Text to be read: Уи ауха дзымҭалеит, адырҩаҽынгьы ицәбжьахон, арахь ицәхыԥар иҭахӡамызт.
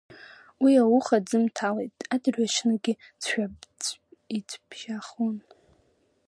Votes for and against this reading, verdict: 1, 2, rejected